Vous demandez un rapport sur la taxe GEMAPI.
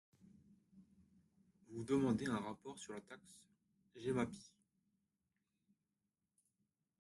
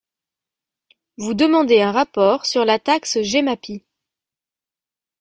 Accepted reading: second